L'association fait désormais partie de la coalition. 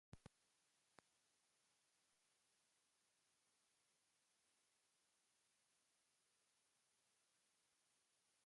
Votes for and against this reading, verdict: 0, 2, rejected